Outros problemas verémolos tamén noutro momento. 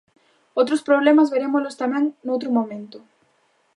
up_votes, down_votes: 2, 0